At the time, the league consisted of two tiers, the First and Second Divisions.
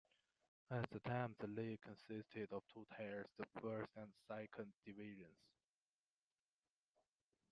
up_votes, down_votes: 1, 2